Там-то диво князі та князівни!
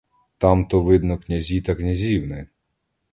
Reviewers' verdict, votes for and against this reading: rejected, 0, 2